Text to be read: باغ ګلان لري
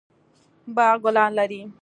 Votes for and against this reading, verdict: 2, 0, accepted